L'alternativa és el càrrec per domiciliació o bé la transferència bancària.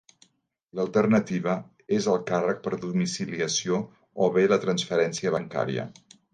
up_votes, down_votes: 4, 0